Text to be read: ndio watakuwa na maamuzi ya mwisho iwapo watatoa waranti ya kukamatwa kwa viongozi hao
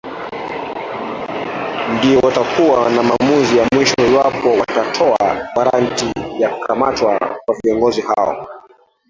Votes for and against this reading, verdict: 0, 2, rejected